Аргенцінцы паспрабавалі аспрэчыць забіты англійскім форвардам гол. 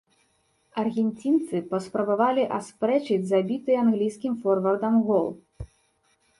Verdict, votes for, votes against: accepted, 3, 0